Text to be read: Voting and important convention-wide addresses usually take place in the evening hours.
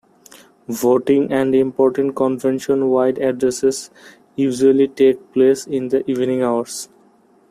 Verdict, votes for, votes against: accepted, 2, 0